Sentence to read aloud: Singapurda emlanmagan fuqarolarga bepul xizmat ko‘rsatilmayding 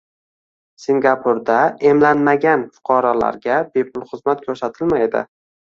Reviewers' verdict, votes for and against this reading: rejected, 0, 2